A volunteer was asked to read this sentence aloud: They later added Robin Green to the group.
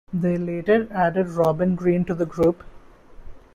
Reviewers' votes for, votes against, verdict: 2, 0, accepted